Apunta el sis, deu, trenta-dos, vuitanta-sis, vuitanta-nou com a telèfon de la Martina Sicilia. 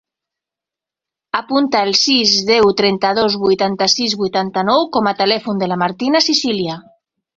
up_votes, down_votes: 4, 0